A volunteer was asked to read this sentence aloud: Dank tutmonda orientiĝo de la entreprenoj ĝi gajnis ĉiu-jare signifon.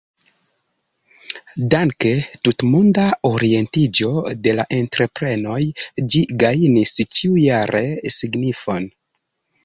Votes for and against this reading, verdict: 1, 2, rejected